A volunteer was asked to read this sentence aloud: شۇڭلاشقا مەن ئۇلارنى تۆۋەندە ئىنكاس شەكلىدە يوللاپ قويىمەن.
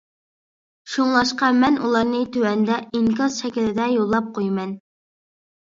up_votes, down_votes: 2, 0